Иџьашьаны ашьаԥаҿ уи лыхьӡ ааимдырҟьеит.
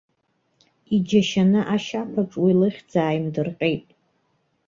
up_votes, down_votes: 2, 0